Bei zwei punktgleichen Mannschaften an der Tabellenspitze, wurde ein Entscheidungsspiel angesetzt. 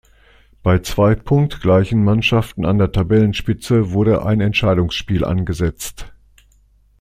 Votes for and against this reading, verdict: 2, 0, accepted